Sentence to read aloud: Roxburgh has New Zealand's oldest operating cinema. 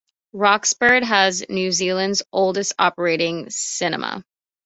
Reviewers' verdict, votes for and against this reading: accepted, 2, 0